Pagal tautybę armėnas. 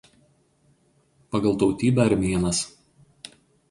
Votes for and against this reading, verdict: 2, 0, accepted